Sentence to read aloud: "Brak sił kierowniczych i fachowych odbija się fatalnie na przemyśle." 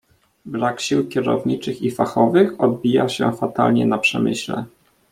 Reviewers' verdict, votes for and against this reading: rejected, 1, 2